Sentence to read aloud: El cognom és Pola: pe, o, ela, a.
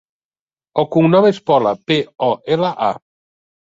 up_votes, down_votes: 2, 0